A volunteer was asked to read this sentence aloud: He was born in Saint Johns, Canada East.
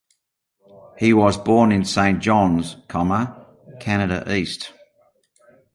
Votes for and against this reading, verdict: 0, 2, rejected